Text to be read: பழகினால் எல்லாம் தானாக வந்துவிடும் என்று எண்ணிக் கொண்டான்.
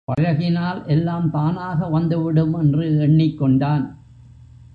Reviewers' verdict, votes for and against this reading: accepted, 3, 0